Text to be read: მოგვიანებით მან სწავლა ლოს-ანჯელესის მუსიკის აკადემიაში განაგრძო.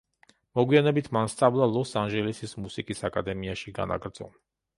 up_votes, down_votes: 0, 2